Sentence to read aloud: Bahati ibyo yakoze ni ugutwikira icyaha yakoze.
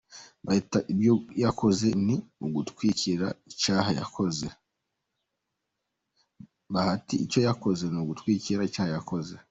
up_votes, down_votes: 2, 1